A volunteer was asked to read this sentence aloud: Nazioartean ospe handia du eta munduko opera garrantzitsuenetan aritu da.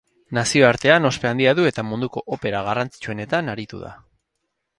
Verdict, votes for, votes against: accepted, 4, 0